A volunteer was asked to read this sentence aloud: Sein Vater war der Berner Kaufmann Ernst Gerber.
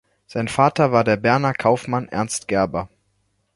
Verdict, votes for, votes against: accepted, 2, 0